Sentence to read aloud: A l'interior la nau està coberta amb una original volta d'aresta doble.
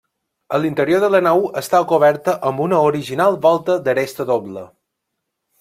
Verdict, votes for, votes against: rejected, 0, 2